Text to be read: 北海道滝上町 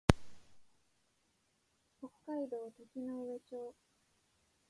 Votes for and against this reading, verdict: 0, 2, rejected